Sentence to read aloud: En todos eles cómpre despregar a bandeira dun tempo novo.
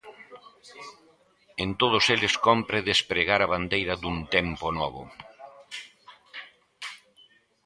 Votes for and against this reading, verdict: 2, 0, accepted